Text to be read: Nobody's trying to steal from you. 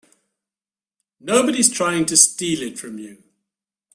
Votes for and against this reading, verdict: 0, 2, rejected